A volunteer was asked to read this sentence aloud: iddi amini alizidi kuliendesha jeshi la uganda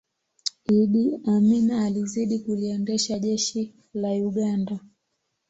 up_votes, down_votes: 2, 1